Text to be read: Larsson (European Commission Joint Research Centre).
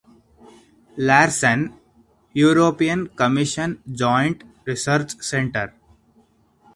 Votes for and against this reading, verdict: 4, 0, accepted